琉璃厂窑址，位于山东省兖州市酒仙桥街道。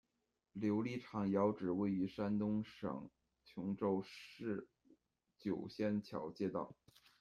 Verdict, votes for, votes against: accepted, 2, 1